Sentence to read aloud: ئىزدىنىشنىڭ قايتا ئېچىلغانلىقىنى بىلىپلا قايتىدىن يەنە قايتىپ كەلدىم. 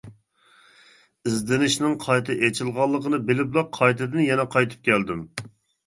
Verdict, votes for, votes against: accepted, 3, 0